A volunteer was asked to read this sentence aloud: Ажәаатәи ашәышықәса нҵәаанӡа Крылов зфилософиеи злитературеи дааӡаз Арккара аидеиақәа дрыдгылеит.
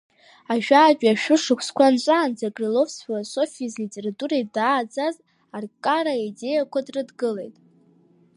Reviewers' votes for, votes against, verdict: 1, 2, rejected